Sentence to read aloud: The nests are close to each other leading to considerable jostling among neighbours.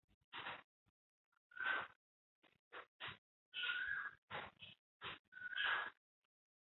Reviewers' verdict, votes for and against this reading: rejected, 0, 2